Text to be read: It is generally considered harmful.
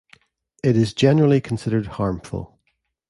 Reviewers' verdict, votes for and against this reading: accepted, 2, 0